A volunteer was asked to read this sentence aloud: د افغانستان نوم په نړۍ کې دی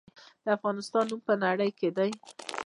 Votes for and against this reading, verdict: 0, 2, rejected